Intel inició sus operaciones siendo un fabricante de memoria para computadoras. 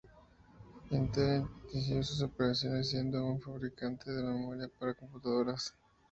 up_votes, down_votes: 2, 0